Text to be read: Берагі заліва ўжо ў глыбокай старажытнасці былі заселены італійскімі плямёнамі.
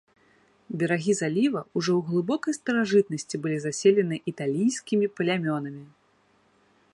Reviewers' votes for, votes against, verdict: 2, 0, accepted